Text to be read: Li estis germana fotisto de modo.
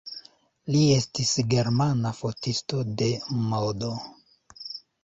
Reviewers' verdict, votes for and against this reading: accepted, 2, 0